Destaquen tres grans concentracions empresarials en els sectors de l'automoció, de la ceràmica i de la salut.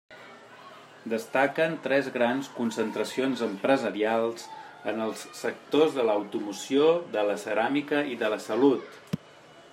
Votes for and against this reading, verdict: 1, 2, rejected